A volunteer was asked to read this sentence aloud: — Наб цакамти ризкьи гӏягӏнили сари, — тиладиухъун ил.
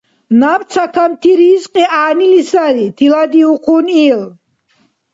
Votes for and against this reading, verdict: 2, 0, accepted